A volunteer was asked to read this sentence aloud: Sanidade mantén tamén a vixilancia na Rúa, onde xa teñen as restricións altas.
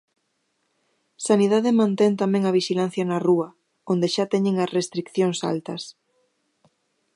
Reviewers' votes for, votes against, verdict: 1, 2, rejected